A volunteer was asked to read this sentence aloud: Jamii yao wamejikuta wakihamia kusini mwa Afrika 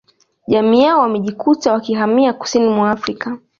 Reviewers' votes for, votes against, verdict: 3, 0, accepted